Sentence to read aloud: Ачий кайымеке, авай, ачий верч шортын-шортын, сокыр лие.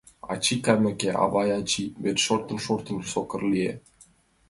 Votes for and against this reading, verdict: 2, 0, accepted